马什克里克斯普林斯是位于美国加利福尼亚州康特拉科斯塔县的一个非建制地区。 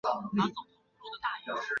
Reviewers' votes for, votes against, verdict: 0, 3, rejected